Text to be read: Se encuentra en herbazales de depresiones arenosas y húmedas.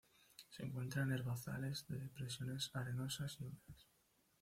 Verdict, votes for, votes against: rejected, 1, 2